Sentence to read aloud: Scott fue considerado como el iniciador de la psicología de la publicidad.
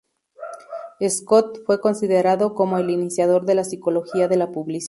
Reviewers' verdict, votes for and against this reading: rejected, 0, 4